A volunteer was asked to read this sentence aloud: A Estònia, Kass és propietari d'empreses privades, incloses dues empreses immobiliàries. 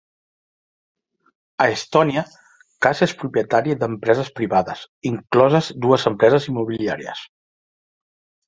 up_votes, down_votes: 3, 0